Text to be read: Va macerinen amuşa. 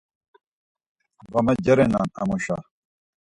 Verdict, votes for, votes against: rejected, 2, 4